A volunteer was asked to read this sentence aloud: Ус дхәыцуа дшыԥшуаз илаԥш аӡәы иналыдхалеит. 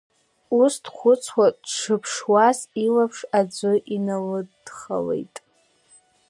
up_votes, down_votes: 0, 2